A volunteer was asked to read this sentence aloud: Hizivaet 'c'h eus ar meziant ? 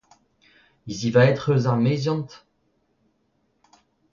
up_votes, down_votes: 2, 0